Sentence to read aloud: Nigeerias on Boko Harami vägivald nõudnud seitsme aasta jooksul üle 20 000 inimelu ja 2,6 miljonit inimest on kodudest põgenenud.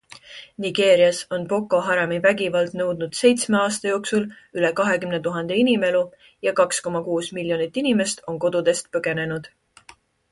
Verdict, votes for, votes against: rejected, 0, 2